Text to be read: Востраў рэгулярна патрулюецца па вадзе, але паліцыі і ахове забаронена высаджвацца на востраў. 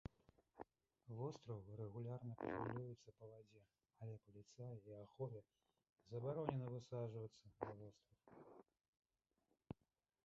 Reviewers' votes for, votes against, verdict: 0, 2, rejected